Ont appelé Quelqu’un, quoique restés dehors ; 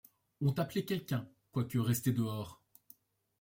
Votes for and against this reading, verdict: 2, 0, accepted